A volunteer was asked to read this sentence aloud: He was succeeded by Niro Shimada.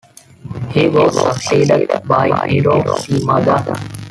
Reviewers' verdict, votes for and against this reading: rejected, 0, 2